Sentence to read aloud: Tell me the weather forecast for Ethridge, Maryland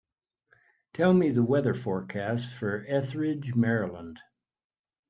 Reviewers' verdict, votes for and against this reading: accepted, 4, 0